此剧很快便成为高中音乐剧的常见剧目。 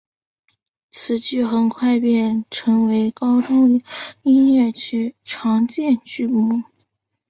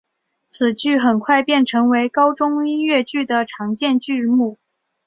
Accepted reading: second